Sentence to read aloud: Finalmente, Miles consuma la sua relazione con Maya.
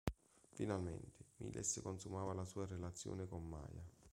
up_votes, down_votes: 0, 2